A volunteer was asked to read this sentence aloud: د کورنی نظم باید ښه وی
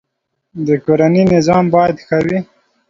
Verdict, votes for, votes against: rejected, 1, 2